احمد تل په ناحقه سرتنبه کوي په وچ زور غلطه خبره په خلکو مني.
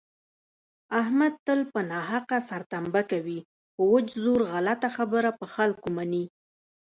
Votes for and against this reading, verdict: 1, 2, rejected